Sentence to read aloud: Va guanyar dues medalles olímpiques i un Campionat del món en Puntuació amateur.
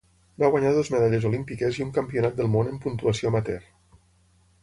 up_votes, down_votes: 3, 0